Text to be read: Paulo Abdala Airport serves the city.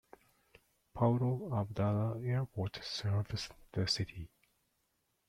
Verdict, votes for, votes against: accepted, 2, 0